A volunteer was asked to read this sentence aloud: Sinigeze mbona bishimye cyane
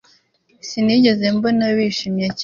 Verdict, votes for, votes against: rejected, 0, 2